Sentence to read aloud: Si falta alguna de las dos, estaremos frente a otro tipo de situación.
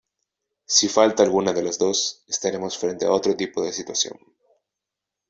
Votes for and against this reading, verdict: 2, 1, accepted